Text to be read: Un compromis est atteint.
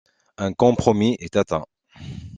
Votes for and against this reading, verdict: 2, 0, accepted